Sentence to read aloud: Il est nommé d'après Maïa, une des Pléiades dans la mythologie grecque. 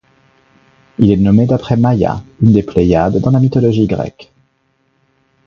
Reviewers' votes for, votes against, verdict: 1, 2, rejected